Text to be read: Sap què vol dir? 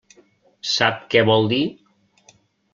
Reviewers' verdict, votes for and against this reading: accepted, 3, 0